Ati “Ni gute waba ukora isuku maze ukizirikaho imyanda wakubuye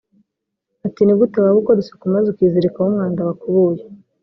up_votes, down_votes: 0, 2